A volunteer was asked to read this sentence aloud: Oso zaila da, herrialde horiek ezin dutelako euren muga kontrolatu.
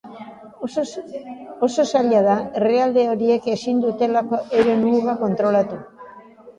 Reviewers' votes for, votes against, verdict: 0, 2, rejected